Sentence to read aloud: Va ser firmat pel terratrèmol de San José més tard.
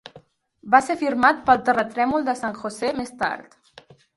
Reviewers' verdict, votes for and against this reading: accepted, 2, 0